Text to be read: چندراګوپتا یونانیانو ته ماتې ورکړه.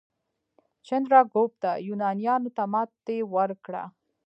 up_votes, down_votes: 1, 2